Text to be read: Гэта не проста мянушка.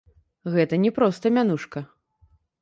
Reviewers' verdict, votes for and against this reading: rejected, 1, 2